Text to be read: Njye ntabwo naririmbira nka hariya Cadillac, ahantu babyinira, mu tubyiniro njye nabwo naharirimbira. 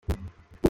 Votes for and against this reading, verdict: 0, 2, rejected